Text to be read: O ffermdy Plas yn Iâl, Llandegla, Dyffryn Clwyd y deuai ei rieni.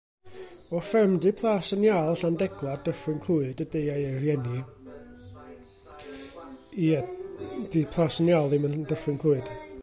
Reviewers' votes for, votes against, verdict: 0, 2, rejected